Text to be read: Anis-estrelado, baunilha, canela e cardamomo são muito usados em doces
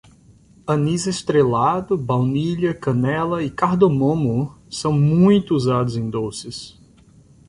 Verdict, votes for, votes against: rejected, 0, 2